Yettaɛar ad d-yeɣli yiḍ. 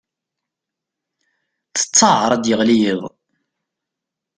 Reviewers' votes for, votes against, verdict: 0, 2, rejected